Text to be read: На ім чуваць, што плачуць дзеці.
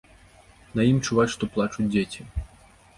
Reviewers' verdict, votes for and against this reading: accepted, 2, 0